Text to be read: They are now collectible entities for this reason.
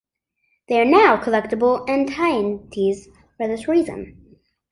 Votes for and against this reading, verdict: 0, 2, rejected